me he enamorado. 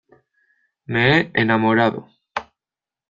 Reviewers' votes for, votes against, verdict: 1, 2, rejected